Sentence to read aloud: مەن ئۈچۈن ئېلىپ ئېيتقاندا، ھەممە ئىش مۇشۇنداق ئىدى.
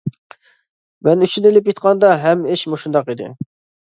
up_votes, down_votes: 2, 1